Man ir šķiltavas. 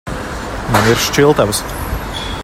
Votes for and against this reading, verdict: 1, 2, rejected